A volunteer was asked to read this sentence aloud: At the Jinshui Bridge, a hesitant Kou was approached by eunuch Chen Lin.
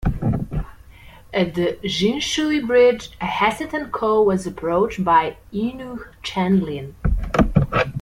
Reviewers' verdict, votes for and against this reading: rejected, 1, 2